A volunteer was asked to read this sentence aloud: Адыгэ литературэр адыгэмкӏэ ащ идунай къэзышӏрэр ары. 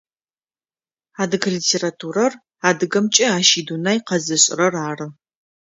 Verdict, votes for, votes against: accepted, 2, 0